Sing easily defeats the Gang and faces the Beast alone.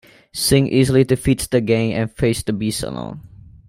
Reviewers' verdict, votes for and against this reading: accepted, 2, 1